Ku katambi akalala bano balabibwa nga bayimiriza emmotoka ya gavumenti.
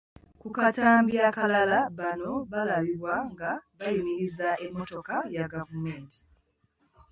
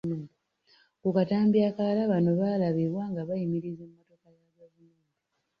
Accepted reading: first